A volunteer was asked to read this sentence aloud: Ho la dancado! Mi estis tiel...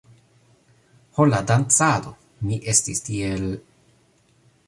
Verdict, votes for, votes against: accepted, 2, 0